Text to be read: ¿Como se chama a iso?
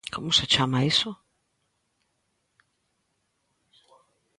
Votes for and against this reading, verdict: 2, 0, accepted